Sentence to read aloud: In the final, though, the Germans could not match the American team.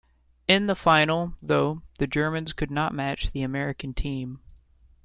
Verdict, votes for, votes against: accepted, 2, 0